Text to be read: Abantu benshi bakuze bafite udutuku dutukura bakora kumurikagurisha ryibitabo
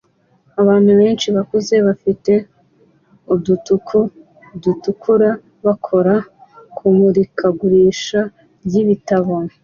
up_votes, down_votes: 2, 0